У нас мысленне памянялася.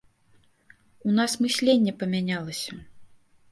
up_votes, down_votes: 1, 2